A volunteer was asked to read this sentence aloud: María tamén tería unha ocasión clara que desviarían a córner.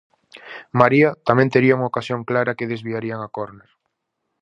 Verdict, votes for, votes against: accepted, 4, 0